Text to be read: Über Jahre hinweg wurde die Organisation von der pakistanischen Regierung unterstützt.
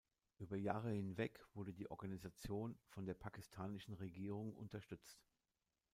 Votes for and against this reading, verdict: 2, 0, accepted